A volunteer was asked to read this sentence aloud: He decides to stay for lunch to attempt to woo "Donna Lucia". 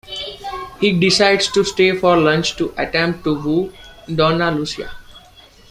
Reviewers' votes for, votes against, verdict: 1, 2, rejected